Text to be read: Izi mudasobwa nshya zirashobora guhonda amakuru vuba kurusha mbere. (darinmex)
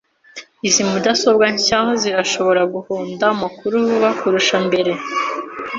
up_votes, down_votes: 0, 2